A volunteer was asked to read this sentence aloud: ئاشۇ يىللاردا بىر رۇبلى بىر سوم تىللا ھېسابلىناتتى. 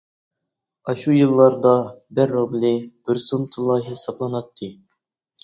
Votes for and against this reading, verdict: 1, 2, rejected